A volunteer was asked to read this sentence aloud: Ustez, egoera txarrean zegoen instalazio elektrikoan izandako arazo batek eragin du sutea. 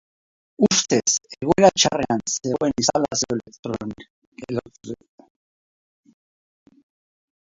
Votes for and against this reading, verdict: 0, 2, rejected